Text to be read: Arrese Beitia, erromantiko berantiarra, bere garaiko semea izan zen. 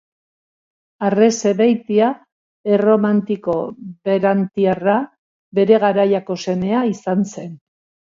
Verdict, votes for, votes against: rejected, 1, 2